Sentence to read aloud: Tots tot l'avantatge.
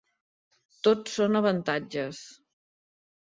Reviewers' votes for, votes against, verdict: 0, 2, rejected